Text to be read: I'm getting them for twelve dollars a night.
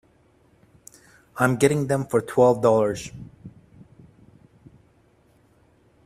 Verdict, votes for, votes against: rejected, 0, 2